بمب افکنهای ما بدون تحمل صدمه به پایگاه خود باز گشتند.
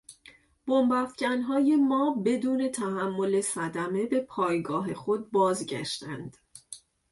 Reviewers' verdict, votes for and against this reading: accepted, 2, 0